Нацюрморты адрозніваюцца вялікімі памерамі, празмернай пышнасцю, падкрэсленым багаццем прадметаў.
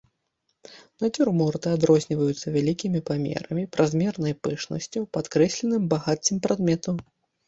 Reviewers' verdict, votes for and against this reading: accepted, 2, 0